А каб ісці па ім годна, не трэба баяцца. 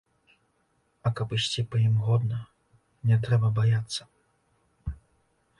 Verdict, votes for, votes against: accepted, 2, 0